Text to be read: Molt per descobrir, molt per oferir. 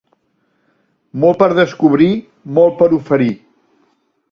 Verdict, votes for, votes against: accepted, 3, 0